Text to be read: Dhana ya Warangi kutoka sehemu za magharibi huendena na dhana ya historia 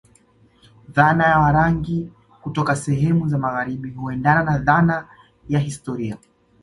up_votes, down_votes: 2, 0